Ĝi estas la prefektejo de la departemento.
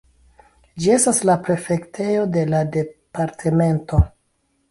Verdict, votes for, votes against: accepted, 2, 1